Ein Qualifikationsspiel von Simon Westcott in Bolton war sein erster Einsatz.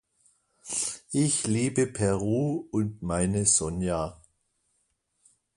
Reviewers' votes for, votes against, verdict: 0, 2, rejected